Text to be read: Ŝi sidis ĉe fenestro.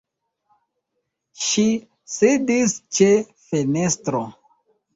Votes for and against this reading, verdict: 2, 0, accepted